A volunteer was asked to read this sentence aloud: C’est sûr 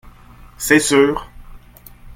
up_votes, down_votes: 1, 2